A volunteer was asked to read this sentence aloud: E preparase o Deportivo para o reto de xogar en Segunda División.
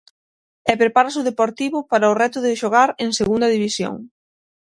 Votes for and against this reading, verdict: 3, 6, rejected